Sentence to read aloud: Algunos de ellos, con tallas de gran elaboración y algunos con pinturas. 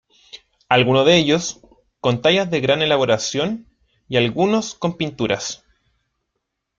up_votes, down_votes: 0, 2